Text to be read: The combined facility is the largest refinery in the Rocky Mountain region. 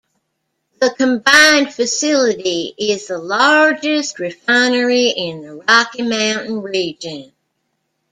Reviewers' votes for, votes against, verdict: 2, 1, accepted